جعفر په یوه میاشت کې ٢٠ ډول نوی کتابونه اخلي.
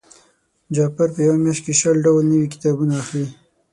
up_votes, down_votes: 0, 2